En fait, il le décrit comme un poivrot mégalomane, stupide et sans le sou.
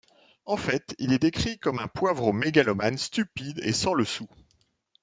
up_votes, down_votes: 0, 2